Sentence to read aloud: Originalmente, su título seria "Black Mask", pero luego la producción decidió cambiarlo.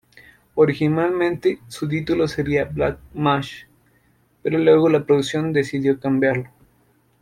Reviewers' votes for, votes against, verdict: 0, 2, rejected